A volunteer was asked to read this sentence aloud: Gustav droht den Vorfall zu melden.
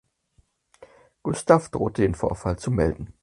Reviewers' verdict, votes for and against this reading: accepted, 4, 0